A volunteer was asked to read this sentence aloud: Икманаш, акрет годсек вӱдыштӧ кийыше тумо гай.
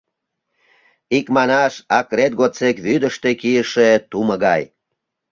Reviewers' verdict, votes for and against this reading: accepted, 2, 0